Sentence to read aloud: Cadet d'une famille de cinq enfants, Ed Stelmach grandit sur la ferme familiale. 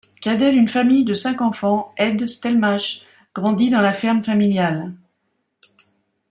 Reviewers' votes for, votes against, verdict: 0, 2, rejected